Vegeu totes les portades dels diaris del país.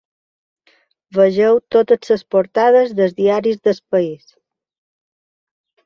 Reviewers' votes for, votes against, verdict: 0, 2, rejected